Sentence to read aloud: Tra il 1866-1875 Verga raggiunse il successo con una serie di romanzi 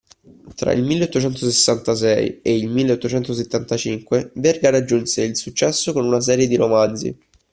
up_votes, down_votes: 0, 2